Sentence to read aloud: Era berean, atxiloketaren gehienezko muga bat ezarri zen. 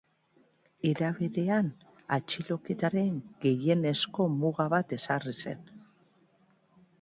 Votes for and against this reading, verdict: 2, 1, accepted